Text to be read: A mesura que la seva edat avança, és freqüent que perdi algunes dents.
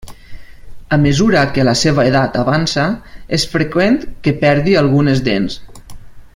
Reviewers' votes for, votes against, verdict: 3, 0, accepted